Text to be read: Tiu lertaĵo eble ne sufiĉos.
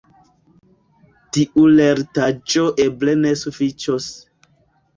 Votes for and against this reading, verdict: 2, 1, accepted